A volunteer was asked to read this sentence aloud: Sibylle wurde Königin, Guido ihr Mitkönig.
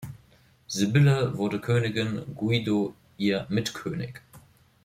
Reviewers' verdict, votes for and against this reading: rejected, 1, 2